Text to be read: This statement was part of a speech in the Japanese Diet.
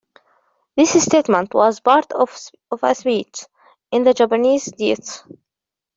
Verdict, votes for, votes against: rejected, 0, 2